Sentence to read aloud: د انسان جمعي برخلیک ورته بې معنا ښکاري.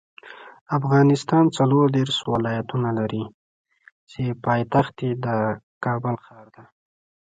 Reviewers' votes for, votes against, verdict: 1, 2, rejected